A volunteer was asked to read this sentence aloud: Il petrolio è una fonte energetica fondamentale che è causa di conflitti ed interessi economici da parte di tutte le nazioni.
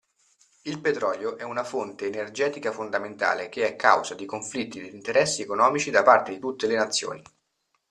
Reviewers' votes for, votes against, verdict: 2, 0, accepted